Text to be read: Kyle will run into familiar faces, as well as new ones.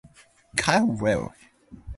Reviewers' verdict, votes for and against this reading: rejected, 0, 2